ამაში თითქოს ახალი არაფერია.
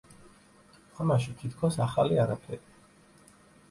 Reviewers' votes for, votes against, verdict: 2, 0, accepted